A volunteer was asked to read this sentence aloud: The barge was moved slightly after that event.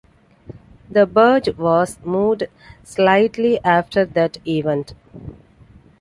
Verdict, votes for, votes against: accepted, 2, 0